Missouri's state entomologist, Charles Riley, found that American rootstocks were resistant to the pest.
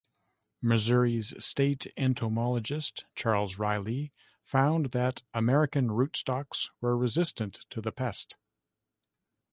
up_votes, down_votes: 2, 0